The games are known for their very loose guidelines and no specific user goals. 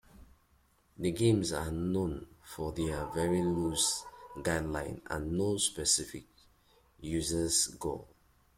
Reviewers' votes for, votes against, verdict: 0, 2, rejected